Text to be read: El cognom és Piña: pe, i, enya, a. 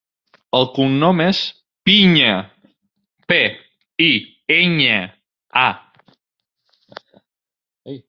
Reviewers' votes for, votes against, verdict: 2, 0, accepted